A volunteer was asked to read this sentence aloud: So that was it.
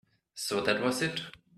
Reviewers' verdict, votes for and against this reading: rejected, 1, 2